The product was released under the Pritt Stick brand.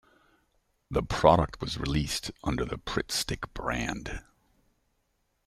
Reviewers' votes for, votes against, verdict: 2, 0, accepted